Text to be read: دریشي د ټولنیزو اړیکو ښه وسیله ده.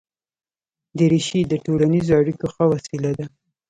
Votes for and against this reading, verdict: 2, 0, accepted